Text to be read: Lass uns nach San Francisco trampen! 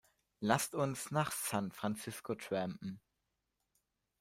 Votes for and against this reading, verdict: 1, 2, rejected